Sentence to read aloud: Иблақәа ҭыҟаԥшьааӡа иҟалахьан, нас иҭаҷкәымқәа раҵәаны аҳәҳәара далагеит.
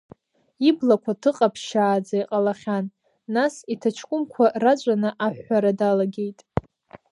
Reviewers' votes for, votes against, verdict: 1, 2, rejected